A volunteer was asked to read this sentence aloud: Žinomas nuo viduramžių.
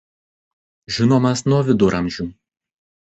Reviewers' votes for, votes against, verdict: 1, 2, rejected